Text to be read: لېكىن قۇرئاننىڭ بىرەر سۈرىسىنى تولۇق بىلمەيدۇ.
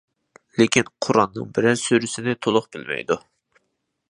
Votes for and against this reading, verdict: 2, 0, accepted